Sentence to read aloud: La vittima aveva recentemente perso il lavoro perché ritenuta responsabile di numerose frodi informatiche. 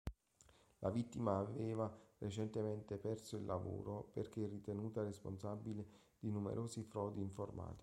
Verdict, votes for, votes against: rejected, 1, 2